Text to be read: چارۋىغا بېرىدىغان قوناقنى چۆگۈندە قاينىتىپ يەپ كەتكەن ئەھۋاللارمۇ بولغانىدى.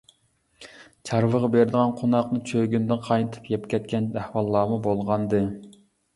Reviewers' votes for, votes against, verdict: 0, 2, rejected